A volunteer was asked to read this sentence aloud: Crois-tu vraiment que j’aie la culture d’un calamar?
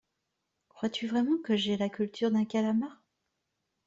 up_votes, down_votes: 2, 0